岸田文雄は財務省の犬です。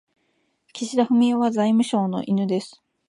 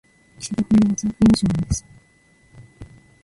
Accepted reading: first